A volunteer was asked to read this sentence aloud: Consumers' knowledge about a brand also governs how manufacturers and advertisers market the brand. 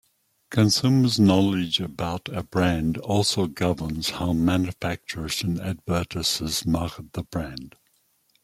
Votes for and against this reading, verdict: 1, 2, rejected